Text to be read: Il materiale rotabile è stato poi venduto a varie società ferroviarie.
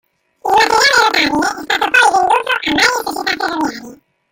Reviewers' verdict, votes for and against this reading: rejected, 0, 3